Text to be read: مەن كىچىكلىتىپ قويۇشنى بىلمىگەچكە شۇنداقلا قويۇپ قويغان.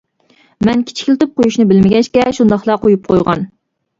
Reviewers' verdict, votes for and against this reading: accepted, 2, 0